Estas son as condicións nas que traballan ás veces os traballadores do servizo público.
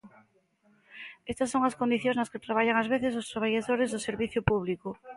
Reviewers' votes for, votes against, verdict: 1, 2, rejected